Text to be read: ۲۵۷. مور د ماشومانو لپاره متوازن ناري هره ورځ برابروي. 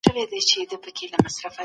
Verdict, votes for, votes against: rejected, 0, 2